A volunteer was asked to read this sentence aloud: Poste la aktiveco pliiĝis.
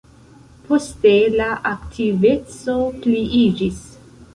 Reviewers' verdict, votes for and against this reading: accepted, 2, 0